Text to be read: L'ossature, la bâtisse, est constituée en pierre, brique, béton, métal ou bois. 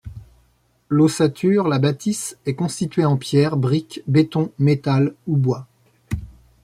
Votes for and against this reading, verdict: 2, 0, accepted